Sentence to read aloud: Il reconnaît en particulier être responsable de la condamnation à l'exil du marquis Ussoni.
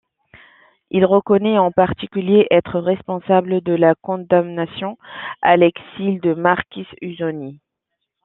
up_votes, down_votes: 2, 0